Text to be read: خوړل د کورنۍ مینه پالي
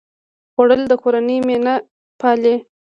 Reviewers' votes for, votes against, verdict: 2, 1, accepted